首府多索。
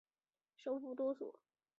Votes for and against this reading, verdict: 1, 2, rejected